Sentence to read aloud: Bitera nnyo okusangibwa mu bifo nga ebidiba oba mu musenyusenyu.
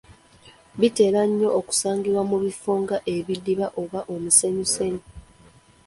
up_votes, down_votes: 3, 1